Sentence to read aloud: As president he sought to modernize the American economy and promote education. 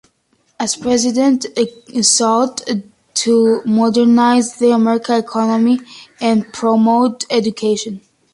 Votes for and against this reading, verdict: 2, 0, accepted